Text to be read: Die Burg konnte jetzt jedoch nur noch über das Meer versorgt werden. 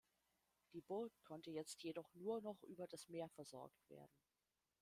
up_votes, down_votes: 1, 2